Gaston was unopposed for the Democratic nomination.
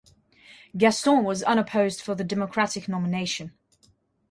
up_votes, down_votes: 3, 0